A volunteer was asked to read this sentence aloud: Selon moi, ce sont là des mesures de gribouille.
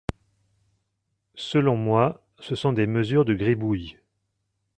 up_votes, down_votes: 1, 2